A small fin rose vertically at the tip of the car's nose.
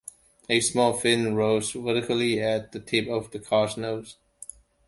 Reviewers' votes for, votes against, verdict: 2, 0, accepted